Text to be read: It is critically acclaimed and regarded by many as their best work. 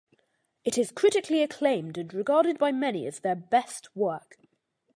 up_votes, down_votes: 2, 0